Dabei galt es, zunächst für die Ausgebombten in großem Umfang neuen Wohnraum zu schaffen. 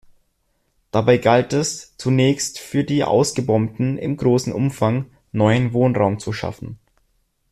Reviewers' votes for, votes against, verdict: 2, 0, accepted